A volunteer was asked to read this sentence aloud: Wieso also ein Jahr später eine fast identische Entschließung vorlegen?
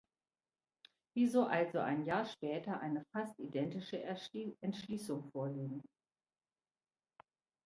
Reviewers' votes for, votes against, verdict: 0, 3, rejected